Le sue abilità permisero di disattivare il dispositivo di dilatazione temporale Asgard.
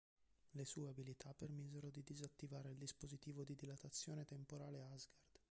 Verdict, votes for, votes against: rejected, 1, 4